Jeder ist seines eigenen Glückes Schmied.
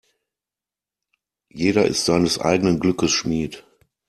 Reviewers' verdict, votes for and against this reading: accepted, 2, 0